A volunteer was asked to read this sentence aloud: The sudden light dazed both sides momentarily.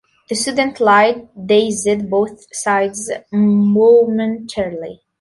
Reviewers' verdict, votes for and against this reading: accepted, 2, 1